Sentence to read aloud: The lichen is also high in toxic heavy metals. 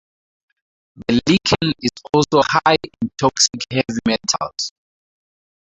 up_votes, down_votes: 0, 4